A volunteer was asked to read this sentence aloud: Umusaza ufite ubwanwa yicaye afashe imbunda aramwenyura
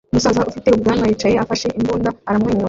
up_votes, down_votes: 0, 2